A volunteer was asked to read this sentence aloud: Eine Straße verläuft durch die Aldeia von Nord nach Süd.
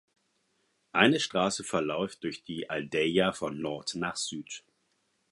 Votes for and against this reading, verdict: 4, 0, accepted